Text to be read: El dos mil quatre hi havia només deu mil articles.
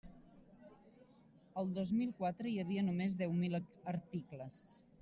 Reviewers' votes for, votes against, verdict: 1, 2, rejected